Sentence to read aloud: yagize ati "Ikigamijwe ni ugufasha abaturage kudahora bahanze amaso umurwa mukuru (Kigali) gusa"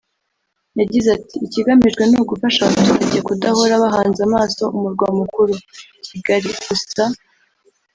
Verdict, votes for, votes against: rejected, 1, 2